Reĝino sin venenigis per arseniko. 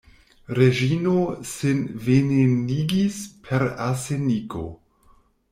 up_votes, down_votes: 1, 2